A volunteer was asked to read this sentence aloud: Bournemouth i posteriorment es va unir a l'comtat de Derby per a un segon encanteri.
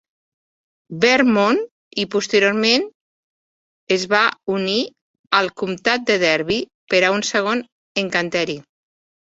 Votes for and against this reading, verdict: 1, 2, rejected